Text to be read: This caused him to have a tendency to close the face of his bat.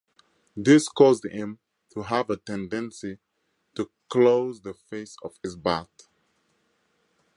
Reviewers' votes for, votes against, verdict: 4, 0, accepted